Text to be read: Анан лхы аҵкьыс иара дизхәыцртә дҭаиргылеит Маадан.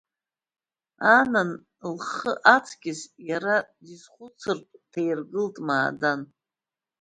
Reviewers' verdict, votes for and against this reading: accepted, 2, 0